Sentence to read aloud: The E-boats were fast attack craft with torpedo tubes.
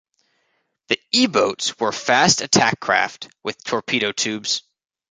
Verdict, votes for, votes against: accepted, 2, 0